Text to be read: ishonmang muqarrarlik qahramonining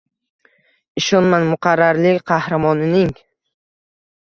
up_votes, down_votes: 2, 0